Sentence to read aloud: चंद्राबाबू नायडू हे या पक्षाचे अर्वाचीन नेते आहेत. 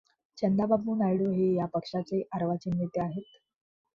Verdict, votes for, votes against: accepted, 2, 0